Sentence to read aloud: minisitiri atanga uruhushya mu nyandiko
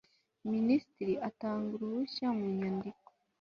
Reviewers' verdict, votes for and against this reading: accepted, 2, 0